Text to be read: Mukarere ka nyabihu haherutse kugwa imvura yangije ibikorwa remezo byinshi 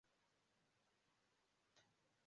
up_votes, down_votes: 0, 2